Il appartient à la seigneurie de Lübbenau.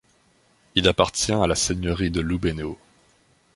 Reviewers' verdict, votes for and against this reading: rejected, 1, 2